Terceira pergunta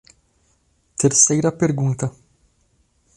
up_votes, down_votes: 2, 0